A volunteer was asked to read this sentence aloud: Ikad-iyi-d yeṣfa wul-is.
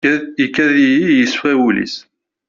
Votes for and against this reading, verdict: 1, 2, rejected